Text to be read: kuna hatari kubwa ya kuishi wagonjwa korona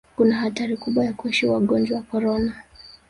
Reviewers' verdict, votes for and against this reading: rejected, 1, 2